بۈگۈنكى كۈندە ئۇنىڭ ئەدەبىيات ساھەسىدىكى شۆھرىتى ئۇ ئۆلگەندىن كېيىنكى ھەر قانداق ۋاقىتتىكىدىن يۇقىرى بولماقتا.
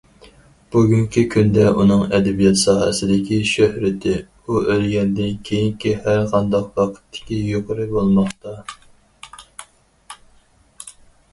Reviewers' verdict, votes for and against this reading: rejected, 0, 4